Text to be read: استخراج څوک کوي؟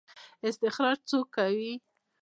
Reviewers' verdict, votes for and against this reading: accepted, 2, 1